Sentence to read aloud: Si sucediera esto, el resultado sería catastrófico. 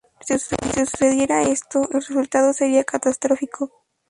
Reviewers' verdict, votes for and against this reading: rejected, 0, 2